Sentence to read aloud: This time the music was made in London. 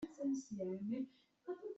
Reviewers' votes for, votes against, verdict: 0, 2, rejected